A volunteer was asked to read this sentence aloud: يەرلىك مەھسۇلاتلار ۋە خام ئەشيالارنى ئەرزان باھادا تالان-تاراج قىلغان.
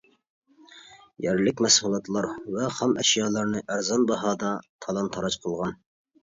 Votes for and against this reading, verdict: 2, 0, accepted